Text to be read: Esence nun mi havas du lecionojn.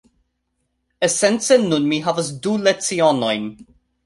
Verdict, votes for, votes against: accepted, 2, 0